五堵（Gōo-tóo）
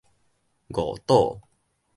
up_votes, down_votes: 2, 0